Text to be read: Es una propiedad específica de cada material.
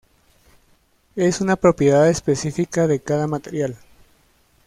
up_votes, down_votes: 1, 2